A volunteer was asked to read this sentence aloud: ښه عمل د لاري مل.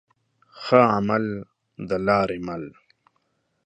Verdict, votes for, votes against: accepted, 2, 0